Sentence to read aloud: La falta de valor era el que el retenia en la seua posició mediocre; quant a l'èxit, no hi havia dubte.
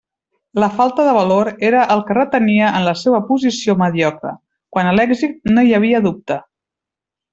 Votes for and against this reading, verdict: 0, 2, rejected